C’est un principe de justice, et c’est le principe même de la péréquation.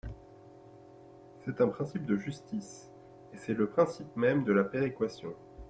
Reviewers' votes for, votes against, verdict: 2, 0, accepted